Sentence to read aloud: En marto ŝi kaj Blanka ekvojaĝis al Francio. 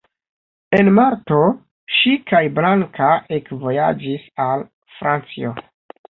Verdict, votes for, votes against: rejected, 1, 2